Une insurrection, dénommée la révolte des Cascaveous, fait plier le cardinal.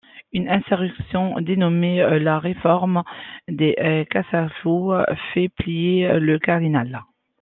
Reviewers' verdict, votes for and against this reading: rejected, 0, 2